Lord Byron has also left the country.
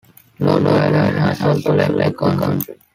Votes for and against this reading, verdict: 1, 2, rejected